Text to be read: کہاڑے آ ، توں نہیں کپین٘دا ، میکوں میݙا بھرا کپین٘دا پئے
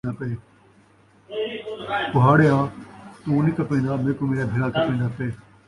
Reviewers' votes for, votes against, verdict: 1, 2, rejected